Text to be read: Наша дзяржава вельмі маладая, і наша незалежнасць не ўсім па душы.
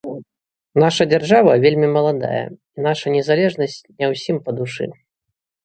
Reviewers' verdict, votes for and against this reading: rejected, 0, 2